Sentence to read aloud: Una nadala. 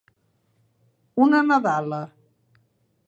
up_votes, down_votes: 3, 0